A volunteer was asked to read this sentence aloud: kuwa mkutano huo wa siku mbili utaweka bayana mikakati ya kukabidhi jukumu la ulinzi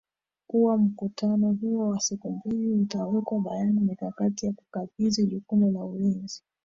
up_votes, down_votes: 0, 2